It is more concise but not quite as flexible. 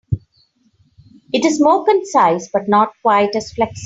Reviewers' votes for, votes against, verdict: 0, 2, rejected